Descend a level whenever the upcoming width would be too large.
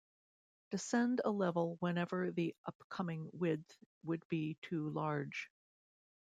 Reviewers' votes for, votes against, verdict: 2, 0, accepted